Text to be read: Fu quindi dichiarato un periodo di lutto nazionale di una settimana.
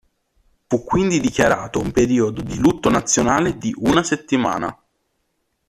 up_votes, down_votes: 2, 0